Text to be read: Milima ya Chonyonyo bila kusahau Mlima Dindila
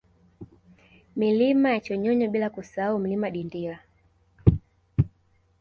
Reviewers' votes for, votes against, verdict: 0, 2, rejected